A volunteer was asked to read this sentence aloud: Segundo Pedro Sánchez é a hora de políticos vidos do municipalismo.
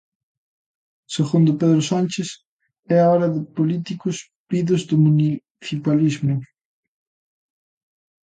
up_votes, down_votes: 0, 2